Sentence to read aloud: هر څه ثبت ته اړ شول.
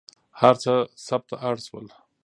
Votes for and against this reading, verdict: 2, 0, accepted